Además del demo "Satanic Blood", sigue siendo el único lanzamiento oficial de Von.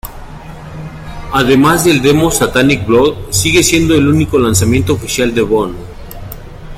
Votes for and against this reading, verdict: 2, 0, accepted